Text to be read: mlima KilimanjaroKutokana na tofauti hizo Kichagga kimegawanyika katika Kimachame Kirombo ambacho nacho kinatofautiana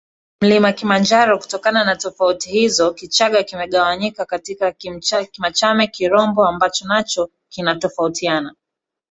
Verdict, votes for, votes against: rejected, 1, 2